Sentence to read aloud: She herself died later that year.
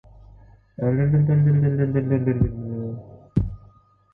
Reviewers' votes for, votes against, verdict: 0, 2, rejected